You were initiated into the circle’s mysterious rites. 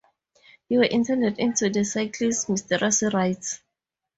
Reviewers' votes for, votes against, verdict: 4, 2, accepted